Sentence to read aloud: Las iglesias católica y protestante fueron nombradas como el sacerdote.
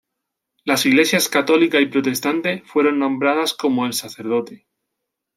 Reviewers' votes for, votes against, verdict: 2, 0, accepted